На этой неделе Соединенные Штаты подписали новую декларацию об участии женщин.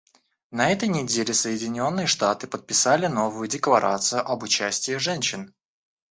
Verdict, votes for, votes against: accepted, 2, 0